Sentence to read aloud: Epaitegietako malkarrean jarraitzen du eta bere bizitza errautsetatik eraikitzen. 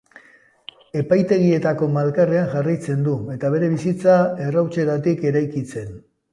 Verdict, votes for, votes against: accepted, 2, 0